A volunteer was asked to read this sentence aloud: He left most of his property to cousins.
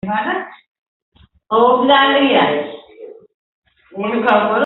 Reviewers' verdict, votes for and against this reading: rejected, 0, 2